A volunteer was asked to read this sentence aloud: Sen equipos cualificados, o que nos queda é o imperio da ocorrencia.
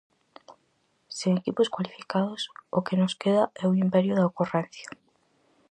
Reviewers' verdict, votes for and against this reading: accepted, 4, 0